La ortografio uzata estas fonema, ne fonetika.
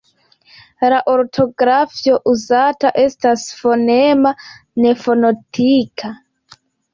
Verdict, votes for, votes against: accepted, 2, 0